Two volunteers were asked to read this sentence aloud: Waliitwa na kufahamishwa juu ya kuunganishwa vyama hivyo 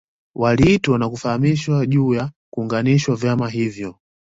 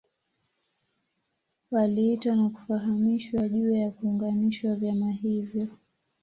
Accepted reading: first